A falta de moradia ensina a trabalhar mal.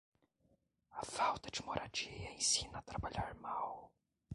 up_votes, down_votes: 1, 2